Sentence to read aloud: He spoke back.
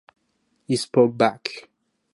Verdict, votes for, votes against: accepted, 4, 0